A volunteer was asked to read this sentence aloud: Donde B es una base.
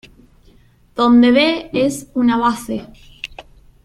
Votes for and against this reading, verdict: 2, 0, accepted